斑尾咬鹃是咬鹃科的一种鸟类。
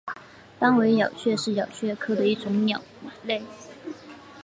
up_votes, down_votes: 3, 0